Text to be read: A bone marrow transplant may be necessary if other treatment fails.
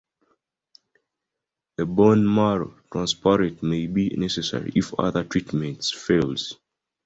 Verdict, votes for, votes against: rejected, 0, 2